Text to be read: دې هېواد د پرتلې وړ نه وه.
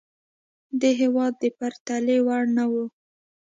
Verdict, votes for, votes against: accepted, 2, 0